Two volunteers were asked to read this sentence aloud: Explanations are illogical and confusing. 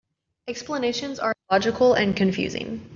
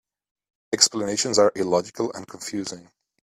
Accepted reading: second